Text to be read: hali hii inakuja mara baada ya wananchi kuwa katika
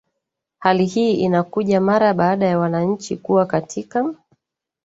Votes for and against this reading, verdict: 2, 1, accepted